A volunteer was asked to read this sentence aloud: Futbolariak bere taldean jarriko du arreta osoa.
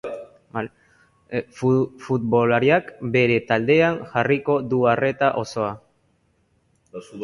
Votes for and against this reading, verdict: 0, 2, rejected